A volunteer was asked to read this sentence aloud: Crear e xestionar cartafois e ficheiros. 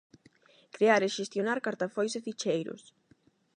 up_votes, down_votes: 8, 0